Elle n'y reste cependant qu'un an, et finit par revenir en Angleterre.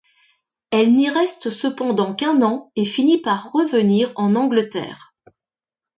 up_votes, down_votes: 2, 0